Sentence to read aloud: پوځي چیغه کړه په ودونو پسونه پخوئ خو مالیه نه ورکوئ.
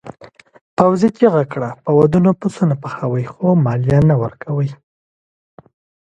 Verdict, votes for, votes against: accepted, 2, 0